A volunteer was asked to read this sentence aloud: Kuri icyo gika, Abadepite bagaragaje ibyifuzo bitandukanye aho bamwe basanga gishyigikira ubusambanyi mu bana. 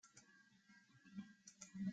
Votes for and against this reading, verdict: 0, 2, rejected